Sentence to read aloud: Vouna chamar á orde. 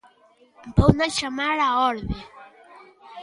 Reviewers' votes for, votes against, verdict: 1, 2, rejected